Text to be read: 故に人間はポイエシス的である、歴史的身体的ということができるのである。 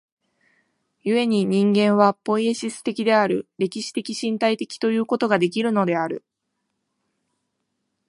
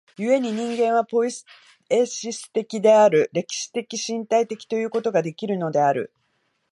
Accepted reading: first